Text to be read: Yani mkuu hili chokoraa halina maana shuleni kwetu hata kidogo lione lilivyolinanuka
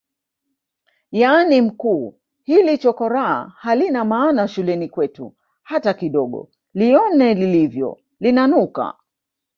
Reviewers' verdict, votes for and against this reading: rejected, 1, 2